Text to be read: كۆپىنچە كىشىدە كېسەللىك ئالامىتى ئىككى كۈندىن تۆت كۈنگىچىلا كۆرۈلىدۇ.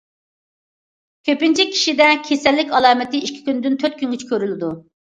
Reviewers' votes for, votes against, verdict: 2, 0, accepted